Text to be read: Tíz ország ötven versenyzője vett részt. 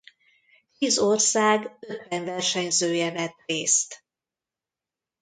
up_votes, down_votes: 0, 2